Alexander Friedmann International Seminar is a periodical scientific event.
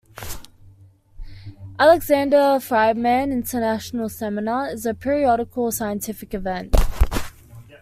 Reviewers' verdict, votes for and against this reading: accepted, 2, 0